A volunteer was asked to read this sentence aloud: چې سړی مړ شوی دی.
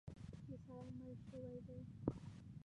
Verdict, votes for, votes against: rejected, 1, 2